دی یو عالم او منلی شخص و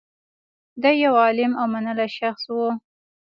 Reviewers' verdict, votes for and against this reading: accepted, 2, 0